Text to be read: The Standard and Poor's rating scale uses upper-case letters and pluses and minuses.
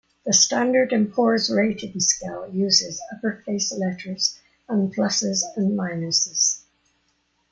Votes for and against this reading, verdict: 2, 1, accepted